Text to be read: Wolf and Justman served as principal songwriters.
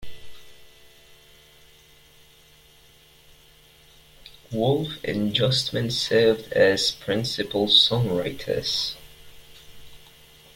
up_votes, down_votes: 2, 0